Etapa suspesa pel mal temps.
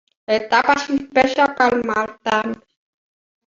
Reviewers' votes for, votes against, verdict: 0, 2, rejected